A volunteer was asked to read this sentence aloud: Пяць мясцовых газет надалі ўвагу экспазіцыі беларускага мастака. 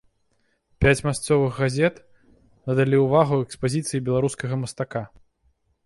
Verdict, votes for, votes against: accepted, 2, 0